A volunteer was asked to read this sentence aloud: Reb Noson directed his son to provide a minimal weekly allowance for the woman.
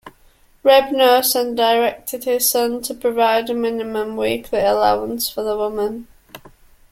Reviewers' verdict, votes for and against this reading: rejected, 1, 2